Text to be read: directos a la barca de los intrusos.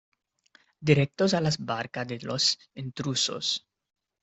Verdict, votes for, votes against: rejected, 0, 2